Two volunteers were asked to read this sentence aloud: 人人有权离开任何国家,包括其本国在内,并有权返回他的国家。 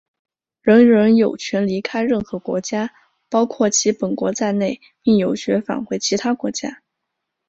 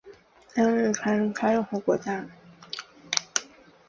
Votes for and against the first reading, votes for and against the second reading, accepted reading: 2, 0, 0, 5, first